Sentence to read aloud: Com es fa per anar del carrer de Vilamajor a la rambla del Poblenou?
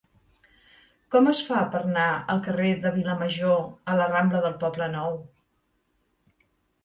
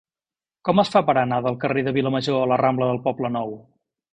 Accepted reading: second